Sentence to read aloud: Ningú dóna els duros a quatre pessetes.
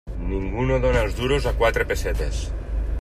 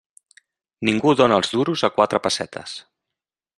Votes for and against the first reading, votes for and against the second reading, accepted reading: 1, 2, 3, 0, second